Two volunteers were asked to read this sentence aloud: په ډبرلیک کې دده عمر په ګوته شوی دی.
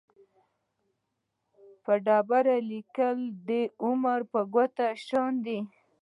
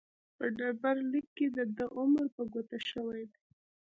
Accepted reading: first